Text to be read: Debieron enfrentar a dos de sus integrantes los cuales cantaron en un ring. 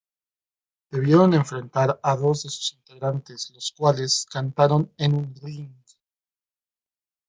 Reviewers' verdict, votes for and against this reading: rejected, 0, 2